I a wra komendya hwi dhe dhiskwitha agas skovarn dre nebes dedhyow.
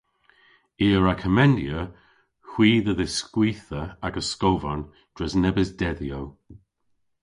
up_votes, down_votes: 1, 2